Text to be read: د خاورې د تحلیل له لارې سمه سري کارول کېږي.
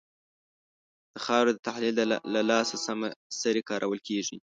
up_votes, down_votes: 1, 2